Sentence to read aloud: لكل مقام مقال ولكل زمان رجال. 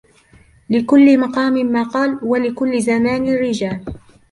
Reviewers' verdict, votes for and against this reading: accepted, 2, 1